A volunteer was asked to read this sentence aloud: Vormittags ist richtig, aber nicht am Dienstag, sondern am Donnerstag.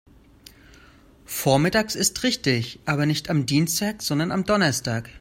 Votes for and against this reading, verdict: 2, 0, accepted